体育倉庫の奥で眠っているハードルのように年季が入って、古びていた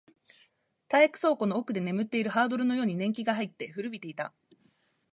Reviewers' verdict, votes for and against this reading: accepted, 2, 0